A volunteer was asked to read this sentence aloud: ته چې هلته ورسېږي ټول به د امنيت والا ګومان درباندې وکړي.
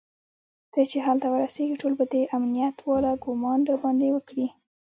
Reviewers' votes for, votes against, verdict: 2, 1, accepted